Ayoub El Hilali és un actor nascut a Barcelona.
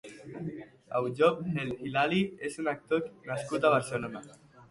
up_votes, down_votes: 2, 0